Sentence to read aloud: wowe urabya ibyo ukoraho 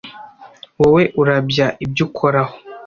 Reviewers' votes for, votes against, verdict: 2, 0, accepted